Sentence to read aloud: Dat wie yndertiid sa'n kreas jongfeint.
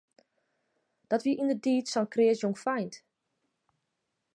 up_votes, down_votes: 0, 2